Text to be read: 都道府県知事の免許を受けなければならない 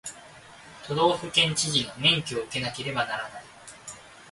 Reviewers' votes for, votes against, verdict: 2, 0, accepted